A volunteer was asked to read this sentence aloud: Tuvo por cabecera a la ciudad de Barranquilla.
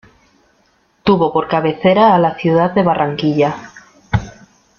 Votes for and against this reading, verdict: 2, 0, accepted